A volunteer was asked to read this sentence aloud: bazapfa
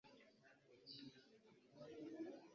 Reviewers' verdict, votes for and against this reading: rejected, 1, 2